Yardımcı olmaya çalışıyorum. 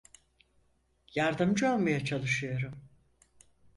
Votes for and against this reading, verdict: 4, 0, accepted